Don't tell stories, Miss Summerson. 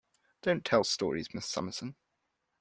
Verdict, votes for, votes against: accepted, 2, 0